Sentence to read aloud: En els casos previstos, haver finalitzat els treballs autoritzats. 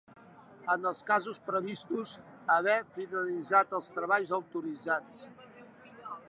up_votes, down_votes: 2, 0